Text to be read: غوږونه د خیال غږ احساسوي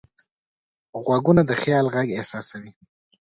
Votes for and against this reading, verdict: 2, 0, accepted